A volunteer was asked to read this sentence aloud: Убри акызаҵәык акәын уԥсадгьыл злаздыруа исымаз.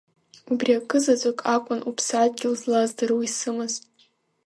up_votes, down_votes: 1, 2